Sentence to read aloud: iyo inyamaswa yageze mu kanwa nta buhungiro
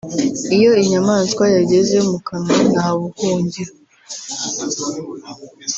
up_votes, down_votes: 2, 0